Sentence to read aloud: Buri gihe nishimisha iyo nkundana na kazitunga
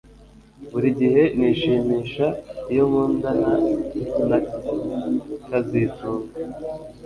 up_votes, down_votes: 2, 0